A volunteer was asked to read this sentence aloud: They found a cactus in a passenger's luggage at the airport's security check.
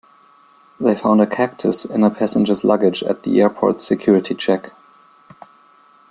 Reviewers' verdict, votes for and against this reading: accepted, 2, 0